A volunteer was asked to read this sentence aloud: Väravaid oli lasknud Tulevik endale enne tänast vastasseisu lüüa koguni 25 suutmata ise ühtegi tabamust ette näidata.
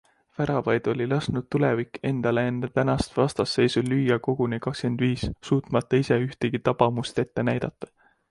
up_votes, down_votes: 0, 2